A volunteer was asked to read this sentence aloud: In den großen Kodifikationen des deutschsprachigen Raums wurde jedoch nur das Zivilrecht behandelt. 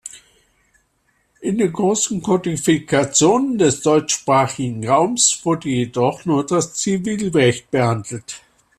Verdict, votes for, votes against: accepted, 2, 1